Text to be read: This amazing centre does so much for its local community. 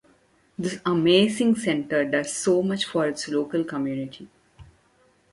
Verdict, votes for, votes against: accepted, 2, 0